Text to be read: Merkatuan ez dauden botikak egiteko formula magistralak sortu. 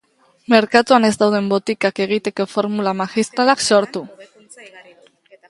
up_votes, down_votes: 2, 0